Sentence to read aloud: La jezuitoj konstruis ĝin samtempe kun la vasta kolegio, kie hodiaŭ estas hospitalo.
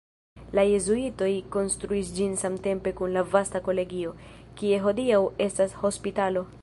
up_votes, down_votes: 1, 2